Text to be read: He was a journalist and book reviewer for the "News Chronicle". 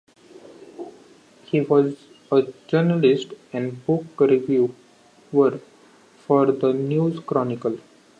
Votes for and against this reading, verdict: 1, 2, rejected